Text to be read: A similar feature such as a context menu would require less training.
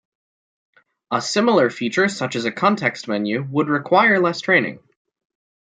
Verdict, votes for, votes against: accepted, 2, 0